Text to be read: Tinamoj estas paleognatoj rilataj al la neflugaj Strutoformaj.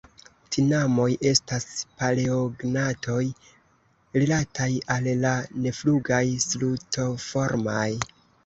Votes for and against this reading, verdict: 0, 2, rejected